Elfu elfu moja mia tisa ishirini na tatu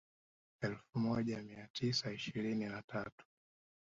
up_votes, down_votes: 2, 0